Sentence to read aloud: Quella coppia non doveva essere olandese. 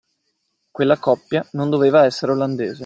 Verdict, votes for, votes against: accepted, 2, 0